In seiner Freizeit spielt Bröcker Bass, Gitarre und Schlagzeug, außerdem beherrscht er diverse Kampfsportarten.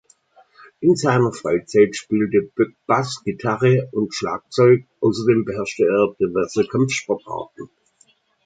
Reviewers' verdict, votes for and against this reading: rejected, 0, 2